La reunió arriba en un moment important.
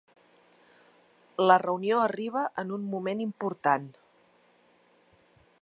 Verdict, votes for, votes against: accepted, 3, 0